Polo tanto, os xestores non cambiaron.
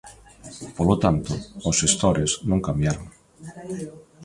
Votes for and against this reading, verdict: 2, 1, accepted